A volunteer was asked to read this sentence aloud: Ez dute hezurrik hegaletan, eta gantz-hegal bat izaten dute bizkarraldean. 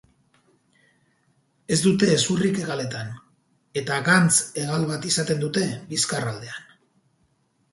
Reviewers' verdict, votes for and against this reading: accepted, 2, 0